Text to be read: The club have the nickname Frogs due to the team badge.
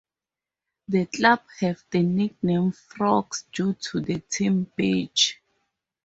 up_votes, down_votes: 2, 2